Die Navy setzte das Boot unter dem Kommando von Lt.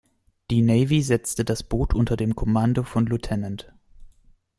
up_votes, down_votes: 2, 0